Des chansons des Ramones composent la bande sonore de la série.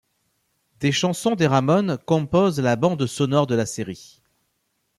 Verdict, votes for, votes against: accepted, 2, 0